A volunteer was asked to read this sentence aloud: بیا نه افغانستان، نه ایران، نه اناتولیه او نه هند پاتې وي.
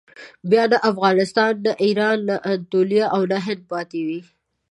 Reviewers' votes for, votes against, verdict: 1, 2, rejected